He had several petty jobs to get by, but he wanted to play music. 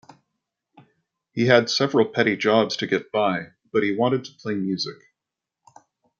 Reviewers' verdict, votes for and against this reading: accepted, 2, 0